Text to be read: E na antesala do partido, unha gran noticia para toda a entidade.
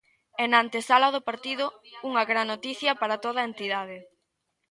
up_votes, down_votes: 1, 2